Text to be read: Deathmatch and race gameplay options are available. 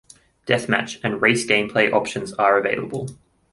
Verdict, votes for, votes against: accepted, 2, 0